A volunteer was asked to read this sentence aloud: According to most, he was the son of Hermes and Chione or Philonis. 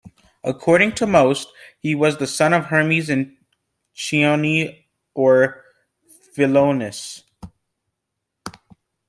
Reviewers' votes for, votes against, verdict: 2, 0, accepted